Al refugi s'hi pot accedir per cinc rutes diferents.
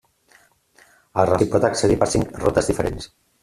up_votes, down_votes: 1, 2